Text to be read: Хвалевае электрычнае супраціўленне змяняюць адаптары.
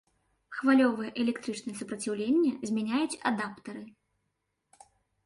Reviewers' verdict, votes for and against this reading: accepted, 2, 0